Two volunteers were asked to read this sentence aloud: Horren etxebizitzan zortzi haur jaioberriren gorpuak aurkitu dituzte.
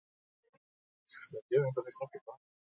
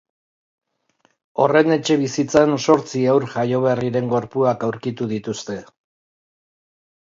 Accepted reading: second